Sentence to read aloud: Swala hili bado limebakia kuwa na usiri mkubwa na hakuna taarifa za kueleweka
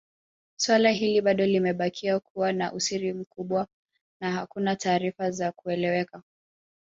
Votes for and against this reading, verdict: 1, 2, rejected